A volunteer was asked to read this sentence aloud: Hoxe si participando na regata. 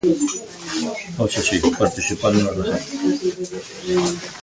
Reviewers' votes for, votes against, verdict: 1, 2, rejected